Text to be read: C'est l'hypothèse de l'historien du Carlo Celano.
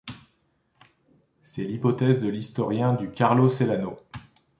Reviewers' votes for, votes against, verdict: 2, 0, accepted